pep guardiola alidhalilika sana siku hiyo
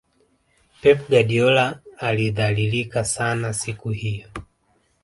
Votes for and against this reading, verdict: 1, 2, rejected